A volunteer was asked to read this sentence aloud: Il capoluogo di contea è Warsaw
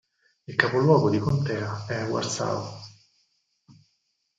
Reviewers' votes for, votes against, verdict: 4, 2, accepted